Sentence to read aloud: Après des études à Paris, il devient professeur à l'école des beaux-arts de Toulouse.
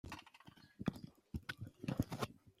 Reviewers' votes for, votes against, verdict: 0, 2, rejected